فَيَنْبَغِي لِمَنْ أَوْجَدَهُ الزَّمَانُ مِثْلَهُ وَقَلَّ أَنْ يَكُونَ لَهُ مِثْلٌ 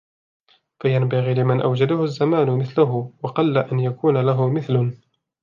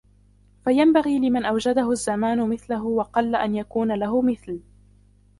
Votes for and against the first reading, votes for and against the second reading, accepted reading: 2, 0, 1, 2, first